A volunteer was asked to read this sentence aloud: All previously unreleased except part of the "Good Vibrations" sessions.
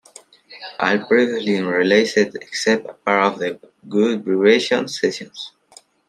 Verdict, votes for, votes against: rejected, 0, 2